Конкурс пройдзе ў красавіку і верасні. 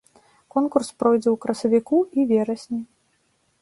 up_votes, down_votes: 2, 0